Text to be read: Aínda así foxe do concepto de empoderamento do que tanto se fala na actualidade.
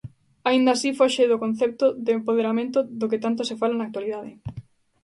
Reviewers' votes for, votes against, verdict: 2, 0, accepted